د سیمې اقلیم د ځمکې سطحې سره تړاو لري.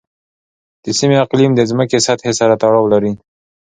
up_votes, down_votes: 2, 0